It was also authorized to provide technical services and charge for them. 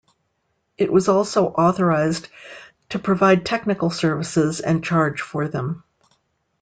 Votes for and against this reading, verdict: 2, 0, accepted